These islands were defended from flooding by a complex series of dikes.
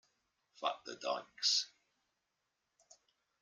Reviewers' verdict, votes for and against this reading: rejected, 0, 2